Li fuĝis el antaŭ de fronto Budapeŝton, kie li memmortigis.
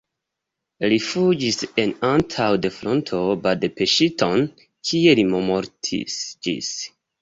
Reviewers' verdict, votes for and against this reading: rejected, 1, 2